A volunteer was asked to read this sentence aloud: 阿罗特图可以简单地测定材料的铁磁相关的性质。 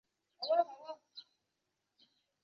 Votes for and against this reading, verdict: 2, 5, rejected